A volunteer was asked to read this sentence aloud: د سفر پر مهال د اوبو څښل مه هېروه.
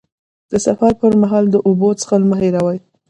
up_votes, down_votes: 0, 2